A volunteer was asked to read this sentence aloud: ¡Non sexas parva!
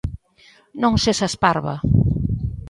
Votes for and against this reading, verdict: 2, 0, accepted